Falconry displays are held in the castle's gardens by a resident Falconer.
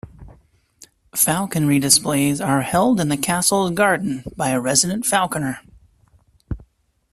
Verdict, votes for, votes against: rejected, 0, 2